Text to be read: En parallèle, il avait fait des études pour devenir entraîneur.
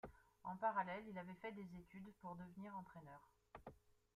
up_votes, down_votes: 1, 2